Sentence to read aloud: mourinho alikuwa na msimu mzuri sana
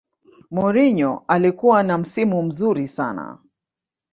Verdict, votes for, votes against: accepted, 2, 0